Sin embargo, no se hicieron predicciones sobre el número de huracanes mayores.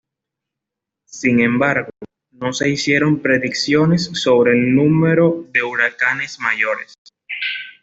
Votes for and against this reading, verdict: 2, 0, accepted